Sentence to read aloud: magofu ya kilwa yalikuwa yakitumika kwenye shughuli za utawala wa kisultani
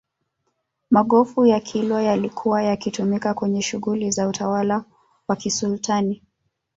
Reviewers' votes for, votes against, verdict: 1, 2, rejected